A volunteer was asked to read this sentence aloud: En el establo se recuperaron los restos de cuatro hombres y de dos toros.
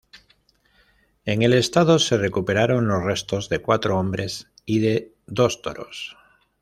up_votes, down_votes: 1, 2